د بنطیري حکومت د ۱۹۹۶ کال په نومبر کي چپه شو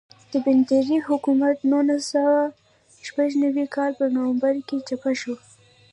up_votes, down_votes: 0, 2